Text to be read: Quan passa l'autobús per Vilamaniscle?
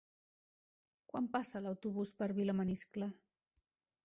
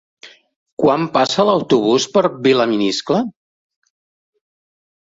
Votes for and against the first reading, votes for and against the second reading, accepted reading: 2, 0, 0, 2, first